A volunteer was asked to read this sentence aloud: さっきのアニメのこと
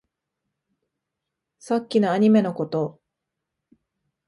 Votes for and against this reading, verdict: 2, 0, accepted